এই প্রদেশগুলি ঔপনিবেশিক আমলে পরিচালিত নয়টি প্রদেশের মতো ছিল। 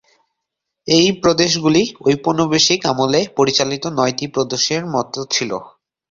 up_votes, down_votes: 0, 2